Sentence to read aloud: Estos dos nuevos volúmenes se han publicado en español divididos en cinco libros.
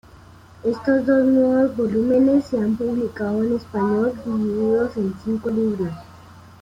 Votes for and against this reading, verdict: 2, 0, accepted